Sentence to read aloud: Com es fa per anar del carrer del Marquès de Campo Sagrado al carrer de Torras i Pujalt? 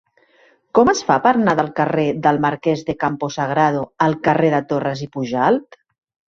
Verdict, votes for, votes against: accepted, 2, 0